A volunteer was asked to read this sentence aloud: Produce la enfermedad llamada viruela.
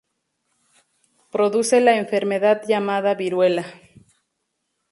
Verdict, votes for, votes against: accepted, 4, 0